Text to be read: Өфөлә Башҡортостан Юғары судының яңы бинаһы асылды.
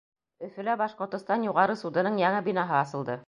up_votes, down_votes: 2, 0